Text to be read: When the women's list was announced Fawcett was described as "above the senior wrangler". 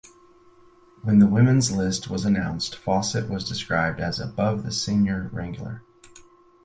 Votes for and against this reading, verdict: 4, 0, accepted